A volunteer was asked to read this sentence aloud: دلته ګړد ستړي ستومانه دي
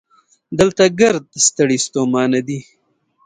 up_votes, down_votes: 2, 0